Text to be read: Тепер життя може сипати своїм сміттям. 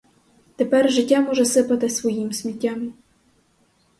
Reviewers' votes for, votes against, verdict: 2, 2, rejected